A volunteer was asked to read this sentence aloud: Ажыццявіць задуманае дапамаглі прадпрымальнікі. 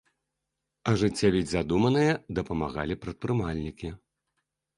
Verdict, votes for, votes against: rejected, 0, 2